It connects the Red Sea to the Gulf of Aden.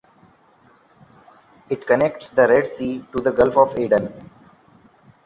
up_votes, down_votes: 2, 0